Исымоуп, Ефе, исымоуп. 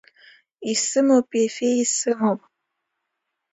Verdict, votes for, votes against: accepted, 2, 1